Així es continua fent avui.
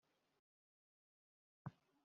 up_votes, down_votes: 0, 2